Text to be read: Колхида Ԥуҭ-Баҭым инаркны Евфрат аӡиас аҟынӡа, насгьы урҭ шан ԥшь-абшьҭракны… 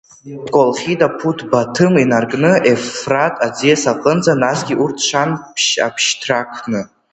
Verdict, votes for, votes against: accepted, 2, 0